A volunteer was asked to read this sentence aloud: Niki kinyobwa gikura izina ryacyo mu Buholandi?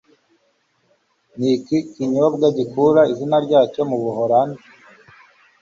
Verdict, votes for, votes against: accepted, 2, 0